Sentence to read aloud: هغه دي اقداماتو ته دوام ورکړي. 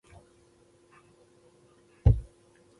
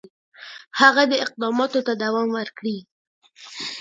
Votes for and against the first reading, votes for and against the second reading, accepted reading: 1, 2, 2, 1, second